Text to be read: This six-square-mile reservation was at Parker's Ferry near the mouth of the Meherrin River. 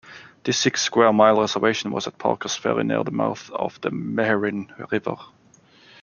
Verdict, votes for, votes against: rejected, 0, 2